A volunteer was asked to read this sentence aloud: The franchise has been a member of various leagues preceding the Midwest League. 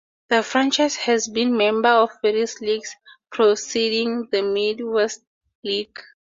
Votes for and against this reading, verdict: 2, 2, rejected